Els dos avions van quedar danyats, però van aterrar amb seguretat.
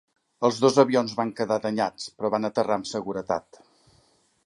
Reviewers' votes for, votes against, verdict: 3, 0, accepted